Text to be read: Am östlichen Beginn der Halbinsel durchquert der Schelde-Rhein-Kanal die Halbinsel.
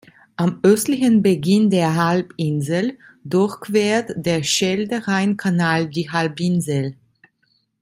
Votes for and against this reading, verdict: 2, 0, accepted